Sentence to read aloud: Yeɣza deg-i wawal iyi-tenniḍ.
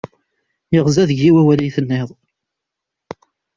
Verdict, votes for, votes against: accepted, 2, 0